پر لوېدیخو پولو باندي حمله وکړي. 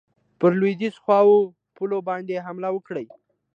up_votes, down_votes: 2, 0